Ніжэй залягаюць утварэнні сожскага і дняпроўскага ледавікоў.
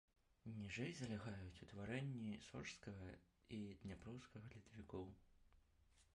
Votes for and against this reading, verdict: 1, 2, rejected